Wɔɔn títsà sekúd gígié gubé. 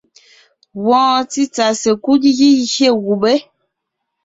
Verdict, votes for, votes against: accepted, 2, 0